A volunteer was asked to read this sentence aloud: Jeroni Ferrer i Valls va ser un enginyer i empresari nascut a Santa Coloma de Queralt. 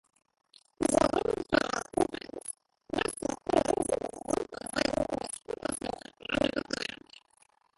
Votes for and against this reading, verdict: 0, 2, rejected